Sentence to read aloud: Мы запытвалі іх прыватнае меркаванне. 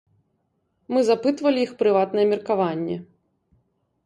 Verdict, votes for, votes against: accepted, 3, 0